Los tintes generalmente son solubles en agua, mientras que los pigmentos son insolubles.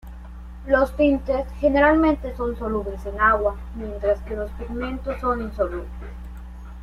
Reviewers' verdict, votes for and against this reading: accepted, 2, 0